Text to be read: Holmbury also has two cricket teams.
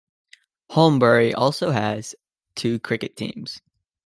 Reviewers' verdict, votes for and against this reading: accepted, 2, 0